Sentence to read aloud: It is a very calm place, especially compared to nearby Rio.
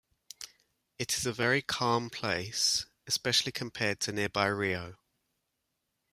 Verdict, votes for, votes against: accepted, 2, 0